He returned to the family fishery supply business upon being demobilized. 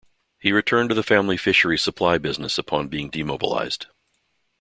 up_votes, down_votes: 2, 0